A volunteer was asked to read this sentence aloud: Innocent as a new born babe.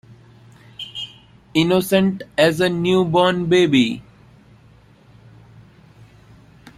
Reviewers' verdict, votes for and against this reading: rejected, 0, 2